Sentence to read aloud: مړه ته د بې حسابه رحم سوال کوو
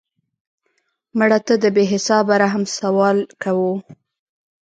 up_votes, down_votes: 3, 0